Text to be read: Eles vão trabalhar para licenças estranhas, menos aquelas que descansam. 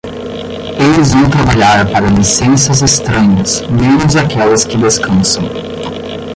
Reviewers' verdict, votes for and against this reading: rejected, 10, 10